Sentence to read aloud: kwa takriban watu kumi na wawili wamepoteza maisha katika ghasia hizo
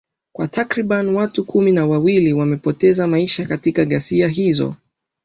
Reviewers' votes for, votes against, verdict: 2, 0, accepted